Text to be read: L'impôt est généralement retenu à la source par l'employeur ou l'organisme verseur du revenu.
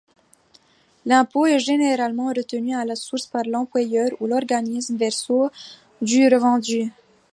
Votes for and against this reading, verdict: 0, 2, rejected